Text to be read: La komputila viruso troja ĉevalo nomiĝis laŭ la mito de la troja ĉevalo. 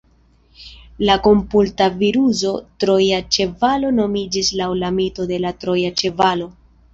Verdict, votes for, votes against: rejected, 0, 2